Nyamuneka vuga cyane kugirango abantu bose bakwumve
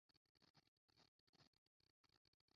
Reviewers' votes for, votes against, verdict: 0, 2, rejected